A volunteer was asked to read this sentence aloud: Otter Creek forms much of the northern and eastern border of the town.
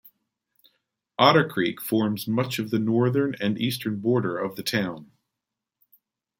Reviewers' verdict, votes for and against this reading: rejected, 1, 2